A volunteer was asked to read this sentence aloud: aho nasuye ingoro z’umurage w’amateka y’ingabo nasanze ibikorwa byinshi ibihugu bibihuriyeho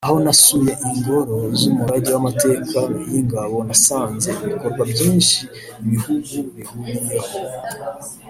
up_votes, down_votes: 1, 2